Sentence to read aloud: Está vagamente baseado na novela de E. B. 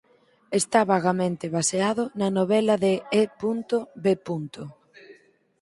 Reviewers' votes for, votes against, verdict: 2, 4, rejected